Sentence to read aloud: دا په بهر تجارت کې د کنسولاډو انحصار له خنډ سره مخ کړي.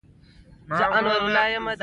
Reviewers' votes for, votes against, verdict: 1, 2, rejected